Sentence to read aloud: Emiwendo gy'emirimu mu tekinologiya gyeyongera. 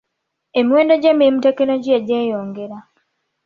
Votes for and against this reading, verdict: 2, 1, accepted